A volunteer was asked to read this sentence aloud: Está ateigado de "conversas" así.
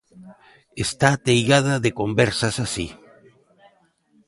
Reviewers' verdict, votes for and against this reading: rejected, 0, 2